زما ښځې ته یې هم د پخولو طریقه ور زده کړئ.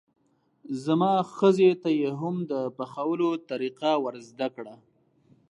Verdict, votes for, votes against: accepted, 2, 1